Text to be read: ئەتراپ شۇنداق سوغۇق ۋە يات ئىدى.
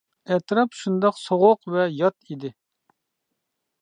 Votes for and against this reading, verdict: 2, 0, accepted